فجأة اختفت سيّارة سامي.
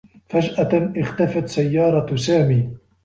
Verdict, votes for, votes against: accepted, 2, 0